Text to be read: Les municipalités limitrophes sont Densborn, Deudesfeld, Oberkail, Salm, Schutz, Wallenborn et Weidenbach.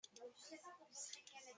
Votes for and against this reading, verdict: 0, 2, rejected